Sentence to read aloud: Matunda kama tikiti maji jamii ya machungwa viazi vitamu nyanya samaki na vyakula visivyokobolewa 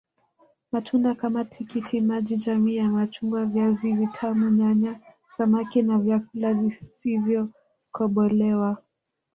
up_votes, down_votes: 0, 2